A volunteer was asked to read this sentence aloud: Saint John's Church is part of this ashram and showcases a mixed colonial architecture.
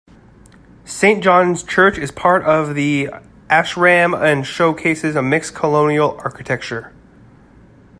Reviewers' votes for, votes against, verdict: 1, 2, rejected